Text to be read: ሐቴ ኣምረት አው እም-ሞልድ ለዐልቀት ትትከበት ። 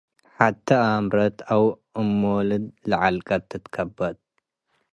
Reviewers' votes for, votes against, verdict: 2, 0, accepted